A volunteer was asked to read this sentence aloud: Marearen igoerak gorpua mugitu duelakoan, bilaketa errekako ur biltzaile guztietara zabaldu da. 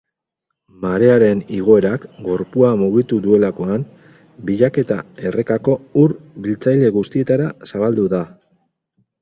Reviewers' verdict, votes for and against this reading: accepted, 4, 2